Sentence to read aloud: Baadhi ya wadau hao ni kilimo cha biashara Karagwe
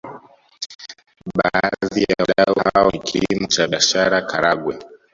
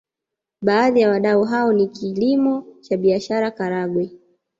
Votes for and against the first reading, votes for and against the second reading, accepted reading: 0, 2, 2, 0, second